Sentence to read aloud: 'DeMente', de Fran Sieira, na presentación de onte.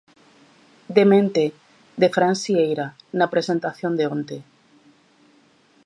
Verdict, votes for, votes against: accepted, 2, 0